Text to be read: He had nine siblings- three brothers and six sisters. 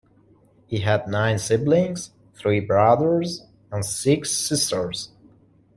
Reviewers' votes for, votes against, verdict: 2, 0, accepted